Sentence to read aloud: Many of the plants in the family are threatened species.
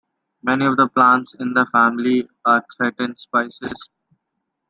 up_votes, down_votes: 0, 2